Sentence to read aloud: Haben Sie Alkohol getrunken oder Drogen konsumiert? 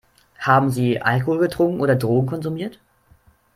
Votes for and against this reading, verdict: 2, 0, accepted